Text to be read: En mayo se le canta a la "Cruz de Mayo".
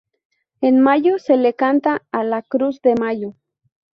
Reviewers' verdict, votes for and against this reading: accepted, 2, 0